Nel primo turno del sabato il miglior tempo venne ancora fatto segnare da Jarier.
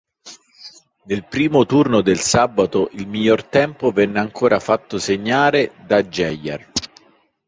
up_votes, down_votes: 2, 0